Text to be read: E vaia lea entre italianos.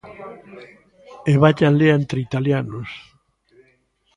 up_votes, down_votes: 2, 0